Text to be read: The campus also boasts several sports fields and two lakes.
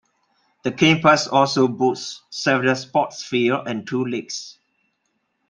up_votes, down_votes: 1, 2